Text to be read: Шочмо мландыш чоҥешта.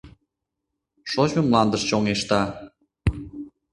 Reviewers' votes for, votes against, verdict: 2, 0, accepted